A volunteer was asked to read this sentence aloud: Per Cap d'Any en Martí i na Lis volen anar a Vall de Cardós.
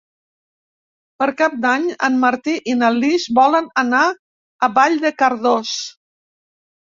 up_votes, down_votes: 2, 0